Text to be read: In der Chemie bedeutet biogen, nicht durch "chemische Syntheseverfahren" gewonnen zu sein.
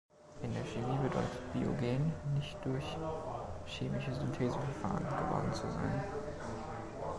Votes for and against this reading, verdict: 0, 2, rejected